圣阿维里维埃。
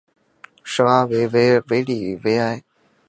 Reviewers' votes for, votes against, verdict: 0, 4, rejected